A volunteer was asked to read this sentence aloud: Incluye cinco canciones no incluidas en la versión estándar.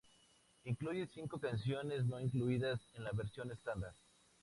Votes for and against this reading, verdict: 2, 0, accepted